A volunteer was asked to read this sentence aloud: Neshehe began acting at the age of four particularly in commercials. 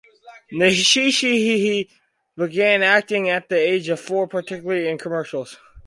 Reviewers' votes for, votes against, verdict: 0, 4, rejected